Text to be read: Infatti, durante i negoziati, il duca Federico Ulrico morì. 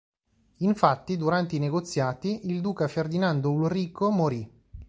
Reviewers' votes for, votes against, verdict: 1, 2, rejected